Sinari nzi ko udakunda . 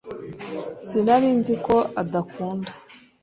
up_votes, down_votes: 1, 2